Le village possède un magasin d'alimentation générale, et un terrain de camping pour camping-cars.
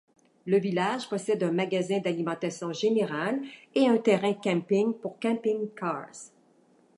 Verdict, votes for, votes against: accepted, 2, 0